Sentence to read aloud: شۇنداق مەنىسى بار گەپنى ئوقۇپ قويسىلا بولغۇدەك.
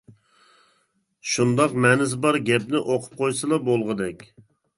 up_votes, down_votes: 3, 0